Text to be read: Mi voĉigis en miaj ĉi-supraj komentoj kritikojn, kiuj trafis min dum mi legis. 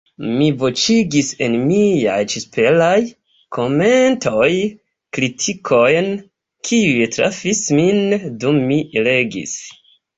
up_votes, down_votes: 0, 2